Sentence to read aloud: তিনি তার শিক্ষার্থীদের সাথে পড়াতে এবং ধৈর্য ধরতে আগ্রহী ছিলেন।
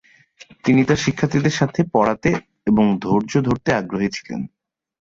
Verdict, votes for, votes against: accepted, 15, 0